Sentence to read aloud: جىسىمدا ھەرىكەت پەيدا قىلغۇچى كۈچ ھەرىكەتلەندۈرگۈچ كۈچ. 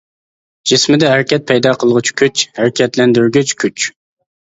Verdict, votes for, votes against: rejected, 1, 2